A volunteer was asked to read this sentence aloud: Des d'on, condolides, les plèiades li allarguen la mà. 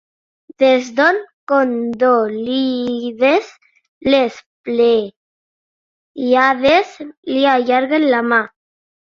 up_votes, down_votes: 0, 2